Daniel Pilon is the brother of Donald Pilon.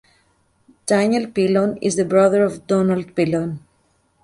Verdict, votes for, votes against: rejected, 0, 2